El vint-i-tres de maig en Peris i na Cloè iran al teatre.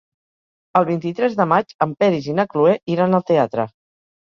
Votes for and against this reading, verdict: 4, 0, accepted